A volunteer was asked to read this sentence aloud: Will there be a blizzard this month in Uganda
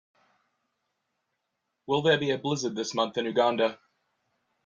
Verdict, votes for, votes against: accepted, 2, 0